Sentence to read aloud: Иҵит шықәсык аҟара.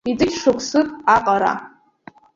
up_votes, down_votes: 1, 2